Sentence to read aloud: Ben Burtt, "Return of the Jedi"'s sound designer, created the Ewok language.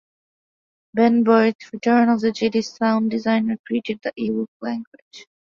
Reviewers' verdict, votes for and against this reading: accepted, 3, 2